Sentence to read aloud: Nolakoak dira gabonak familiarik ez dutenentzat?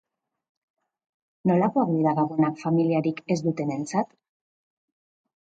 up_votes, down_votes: 4, 2